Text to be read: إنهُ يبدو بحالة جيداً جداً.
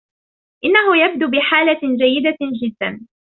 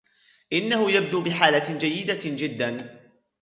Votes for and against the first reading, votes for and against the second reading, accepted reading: 0, 2, 2, 1, second